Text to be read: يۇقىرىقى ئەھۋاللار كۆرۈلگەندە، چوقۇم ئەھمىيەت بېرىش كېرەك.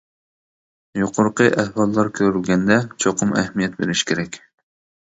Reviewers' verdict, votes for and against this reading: accepted, 2, 0